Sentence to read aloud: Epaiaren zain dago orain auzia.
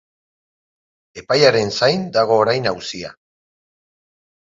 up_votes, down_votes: 4, 0